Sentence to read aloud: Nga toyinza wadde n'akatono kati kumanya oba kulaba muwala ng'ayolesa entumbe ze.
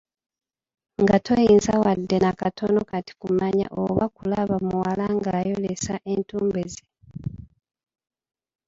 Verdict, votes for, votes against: rejected, 1, 2